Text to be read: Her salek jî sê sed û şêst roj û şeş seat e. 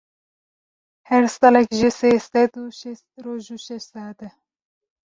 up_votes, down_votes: 1, 2